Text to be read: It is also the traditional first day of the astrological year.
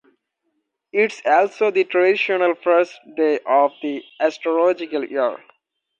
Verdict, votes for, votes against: rejected, 0, 2